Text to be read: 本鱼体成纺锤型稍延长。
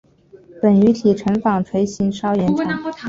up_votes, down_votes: 4, 0